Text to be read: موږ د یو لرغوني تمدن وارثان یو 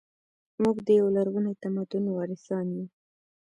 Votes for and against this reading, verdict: 1, 2, rejected